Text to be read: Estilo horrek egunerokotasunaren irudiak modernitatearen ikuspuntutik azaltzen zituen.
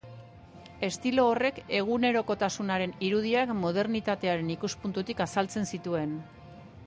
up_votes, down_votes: 2, 1